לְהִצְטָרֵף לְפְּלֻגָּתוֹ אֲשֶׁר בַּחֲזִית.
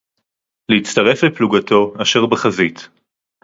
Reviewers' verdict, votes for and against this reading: accepted, 2, 0